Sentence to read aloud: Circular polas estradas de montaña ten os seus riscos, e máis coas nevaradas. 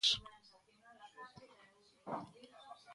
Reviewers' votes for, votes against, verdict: 0, 2, rejected